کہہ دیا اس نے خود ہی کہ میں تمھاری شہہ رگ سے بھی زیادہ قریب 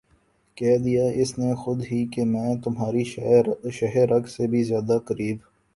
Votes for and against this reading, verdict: 0, 2, rejected